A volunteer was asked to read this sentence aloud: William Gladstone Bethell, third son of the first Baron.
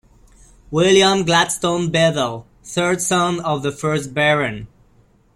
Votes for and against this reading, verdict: 2, 1, accepted